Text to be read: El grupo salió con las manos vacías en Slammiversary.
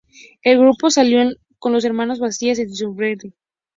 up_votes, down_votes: 2, 0